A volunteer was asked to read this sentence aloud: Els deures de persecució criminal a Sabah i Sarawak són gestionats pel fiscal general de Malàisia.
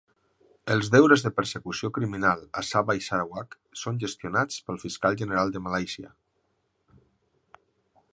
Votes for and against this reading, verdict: 3, 0, accepted